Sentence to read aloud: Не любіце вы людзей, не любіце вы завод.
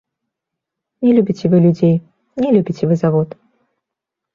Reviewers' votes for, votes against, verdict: 1, 2, rejected